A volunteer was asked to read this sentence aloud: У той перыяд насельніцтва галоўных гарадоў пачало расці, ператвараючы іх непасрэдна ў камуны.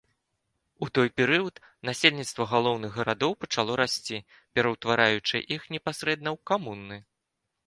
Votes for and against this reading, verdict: 0, 3, rejected